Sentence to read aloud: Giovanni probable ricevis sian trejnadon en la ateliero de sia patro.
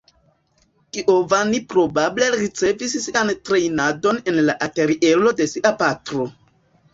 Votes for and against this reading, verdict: 1, 2, rejected